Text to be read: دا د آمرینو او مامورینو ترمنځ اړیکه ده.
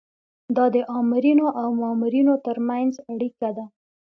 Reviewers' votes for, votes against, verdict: 2, 0, accepted